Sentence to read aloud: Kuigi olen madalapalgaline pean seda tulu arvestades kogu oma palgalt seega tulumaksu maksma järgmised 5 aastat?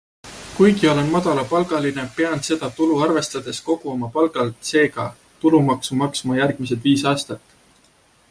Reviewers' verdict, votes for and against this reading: rejected, 0, 2